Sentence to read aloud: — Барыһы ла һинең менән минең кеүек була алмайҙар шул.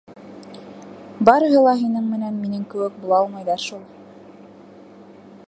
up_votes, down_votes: 2, 1